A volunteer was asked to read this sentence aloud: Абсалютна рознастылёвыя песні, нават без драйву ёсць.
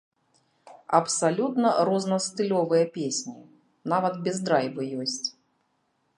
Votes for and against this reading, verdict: 1, 3, rejected